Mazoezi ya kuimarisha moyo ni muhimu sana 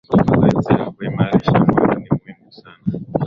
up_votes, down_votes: 1, 2